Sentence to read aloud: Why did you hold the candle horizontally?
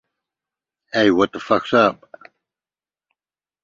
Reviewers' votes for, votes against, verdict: 0, 2, rejected